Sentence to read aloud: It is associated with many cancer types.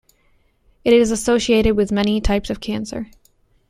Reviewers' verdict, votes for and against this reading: rejected, 0, 2